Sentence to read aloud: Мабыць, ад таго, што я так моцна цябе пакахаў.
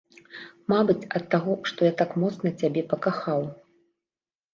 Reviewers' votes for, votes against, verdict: 2, 0, accepted